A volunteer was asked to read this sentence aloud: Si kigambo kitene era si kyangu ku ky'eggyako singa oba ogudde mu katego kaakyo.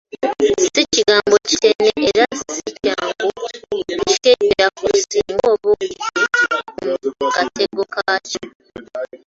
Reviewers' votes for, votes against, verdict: 0, 2, rejected